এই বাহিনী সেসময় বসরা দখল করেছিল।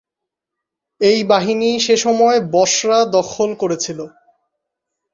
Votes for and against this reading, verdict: 2, 2, rejected